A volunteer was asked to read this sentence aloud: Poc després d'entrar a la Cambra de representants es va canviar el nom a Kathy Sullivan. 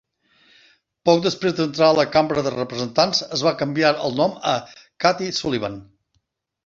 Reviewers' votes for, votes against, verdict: 2, 0, accepted